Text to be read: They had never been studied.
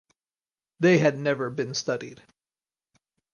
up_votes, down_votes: 4, 0